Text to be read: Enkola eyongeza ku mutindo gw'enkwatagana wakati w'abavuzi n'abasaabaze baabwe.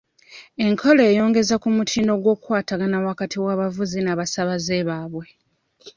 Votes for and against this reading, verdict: 1, 2, rejected